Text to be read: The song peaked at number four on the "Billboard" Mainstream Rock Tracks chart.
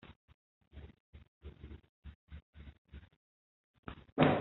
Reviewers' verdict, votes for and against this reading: rejected, 0, 2